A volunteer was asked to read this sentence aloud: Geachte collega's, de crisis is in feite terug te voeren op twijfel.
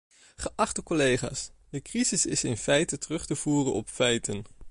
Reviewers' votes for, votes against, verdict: 0, 2, rejected